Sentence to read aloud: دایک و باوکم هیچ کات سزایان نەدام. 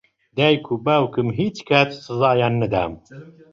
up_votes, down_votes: 2, 0